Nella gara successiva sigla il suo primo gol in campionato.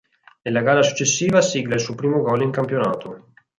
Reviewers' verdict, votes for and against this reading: accepted, 6, 0